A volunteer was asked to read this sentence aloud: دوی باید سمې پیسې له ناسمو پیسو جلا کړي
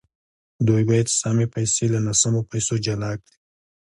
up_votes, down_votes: 2, 0